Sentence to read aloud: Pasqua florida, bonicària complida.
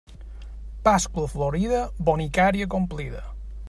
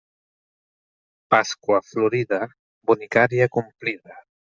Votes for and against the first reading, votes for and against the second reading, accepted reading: 2, 0, 0, 2, first